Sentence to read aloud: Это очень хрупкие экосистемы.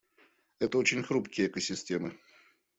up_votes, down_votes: 2, 0